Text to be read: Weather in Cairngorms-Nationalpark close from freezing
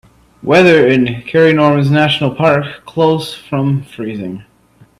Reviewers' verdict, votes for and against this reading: accepted, 2, 0